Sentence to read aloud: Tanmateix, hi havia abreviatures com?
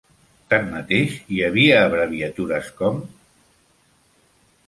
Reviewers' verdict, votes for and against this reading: accepted, 3, 0